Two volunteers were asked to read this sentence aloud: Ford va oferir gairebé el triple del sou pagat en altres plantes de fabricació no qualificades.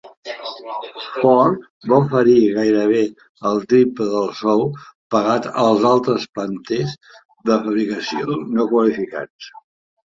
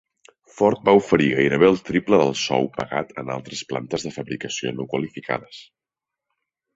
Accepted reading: second